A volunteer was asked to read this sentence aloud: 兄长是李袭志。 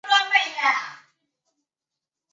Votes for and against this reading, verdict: 0, 3, rejected